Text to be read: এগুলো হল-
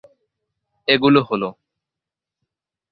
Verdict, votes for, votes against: accepted, 2, 0